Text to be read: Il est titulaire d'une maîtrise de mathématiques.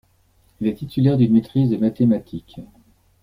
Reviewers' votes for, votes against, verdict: 2, 1, accepted